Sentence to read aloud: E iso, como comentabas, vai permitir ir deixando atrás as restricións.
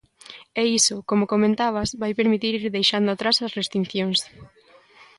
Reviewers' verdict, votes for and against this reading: rejected, 0, 3